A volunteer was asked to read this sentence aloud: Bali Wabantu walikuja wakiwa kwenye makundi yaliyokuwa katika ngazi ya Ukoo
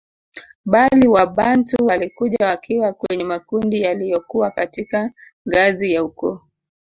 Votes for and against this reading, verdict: 1, 2, rejected